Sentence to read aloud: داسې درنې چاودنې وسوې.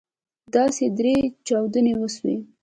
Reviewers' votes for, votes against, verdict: 1, 2, rejected